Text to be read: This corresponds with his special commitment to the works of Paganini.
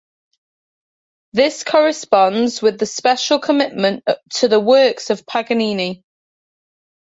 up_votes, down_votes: 2, 0